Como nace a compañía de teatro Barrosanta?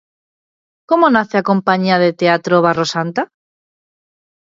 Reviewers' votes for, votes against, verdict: 2, 0, accepted